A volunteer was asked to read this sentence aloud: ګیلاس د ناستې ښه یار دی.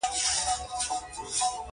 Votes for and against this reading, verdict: 2, 1, accepted